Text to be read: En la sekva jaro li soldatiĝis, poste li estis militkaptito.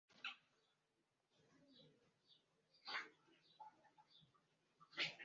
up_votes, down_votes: 0, 2